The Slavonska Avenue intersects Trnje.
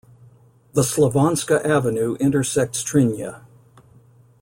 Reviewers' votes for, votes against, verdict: 1, 2, rejected